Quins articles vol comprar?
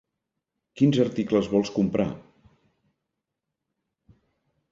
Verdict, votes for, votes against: rejected, 1, 2